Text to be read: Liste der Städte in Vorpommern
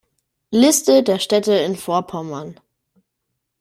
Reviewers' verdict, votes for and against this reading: accepted, 2, 0